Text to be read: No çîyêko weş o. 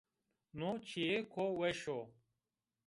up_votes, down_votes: 2, 0